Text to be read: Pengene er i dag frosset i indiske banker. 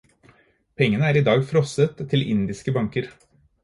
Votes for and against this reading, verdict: 0, 4, rejected